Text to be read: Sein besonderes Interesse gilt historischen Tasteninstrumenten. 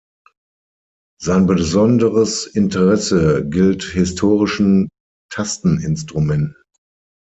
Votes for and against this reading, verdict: 3, 6, rejected